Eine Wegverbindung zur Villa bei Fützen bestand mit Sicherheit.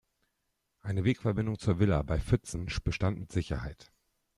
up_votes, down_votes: 1, 2